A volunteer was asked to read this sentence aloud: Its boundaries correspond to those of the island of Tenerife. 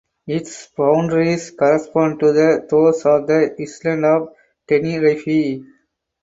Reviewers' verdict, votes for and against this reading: rejected, 0, 4